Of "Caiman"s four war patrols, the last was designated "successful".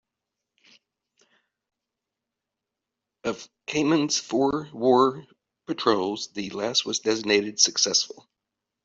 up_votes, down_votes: 2, 0